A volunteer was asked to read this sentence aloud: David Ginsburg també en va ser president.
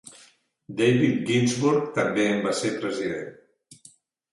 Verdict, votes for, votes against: accepted, 4, 0